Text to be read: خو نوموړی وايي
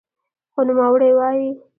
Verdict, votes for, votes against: rejected, 0, 2